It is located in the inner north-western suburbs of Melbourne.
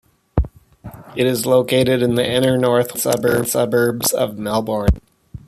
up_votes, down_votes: 0, 2